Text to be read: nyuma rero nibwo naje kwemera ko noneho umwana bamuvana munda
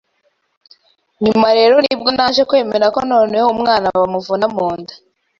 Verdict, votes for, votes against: rejected, 1, 2